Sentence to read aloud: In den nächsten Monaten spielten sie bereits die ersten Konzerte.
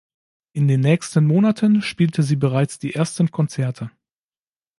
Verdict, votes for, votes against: rejected, 0, 2